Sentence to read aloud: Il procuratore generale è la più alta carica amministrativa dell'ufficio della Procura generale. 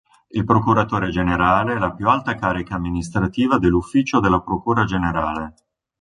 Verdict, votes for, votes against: accepted, 3, 0